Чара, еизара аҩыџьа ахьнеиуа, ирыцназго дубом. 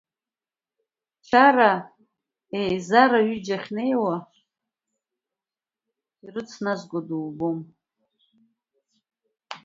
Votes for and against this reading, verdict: 2, 0, accepted